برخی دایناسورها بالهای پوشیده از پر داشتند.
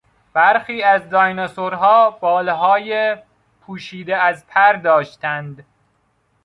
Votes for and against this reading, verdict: 0, 2, rejected